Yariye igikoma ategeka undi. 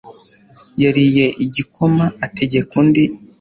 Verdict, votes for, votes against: accepted, 3, 0